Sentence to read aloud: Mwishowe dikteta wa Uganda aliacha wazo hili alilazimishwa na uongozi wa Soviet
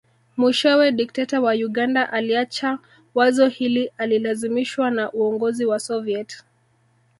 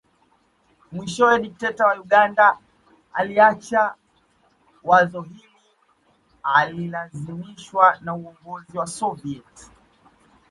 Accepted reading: first